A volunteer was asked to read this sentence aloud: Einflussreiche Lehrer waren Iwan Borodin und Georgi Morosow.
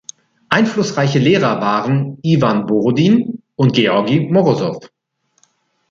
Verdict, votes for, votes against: accepted, 2, 0